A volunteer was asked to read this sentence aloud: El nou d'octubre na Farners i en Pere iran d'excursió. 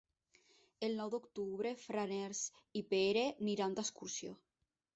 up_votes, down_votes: 0, 2